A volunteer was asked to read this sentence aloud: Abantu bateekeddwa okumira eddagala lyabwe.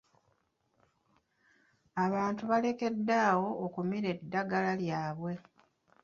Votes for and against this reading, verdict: 1, 2, rejected